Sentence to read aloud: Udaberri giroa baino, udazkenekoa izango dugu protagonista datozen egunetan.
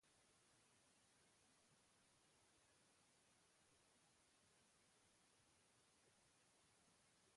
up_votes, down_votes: 0, 3